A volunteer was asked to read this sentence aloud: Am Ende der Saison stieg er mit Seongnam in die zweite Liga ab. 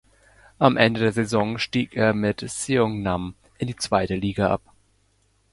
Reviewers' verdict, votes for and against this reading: accepted, 2, 0